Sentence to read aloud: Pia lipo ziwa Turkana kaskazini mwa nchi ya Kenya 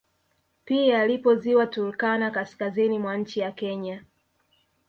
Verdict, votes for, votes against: accepted, 3, 1